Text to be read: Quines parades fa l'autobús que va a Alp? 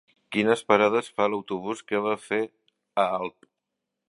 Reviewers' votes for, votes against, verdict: 0, 2, rejected